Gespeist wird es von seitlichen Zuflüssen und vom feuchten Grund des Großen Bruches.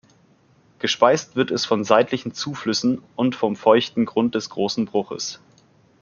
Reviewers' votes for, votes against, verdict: 2, 0, accepted